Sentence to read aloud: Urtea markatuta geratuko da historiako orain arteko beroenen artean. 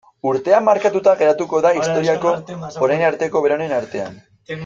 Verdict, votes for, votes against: accepted, 2, 0